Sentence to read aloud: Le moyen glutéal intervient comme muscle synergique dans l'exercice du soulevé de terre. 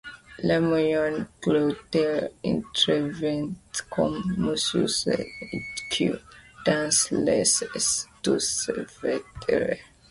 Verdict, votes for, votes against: rejected, 0, 2